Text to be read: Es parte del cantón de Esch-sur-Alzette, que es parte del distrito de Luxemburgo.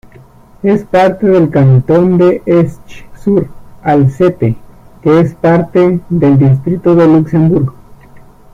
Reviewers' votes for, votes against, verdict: 0, 2, rejected